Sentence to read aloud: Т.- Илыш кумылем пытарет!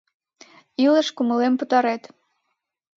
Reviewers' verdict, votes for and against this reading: accepted, 3, 0